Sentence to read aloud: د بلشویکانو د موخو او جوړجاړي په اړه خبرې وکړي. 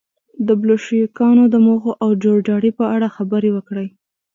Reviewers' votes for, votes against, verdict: 2, 0, accepted